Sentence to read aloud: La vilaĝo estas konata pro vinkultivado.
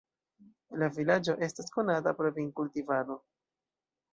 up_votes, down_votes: 2, 0